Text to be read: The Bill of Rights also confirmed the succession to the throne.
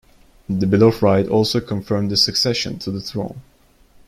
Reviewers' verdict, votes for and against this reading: rejected, 1, 2